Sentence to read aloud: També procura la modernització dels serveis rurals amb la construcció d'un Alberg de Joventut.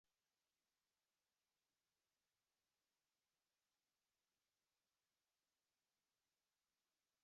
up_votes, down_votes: 0, 2